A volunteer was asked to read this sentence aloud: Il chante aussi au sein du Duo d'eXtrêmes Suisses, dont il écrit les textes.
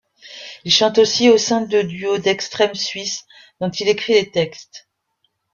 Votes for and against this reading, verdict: 0, 2, rejected